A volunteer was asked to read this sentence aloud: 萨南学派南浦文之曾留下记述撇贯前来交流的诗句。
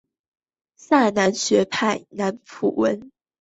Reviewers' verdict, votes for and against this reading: rejected, 1, 2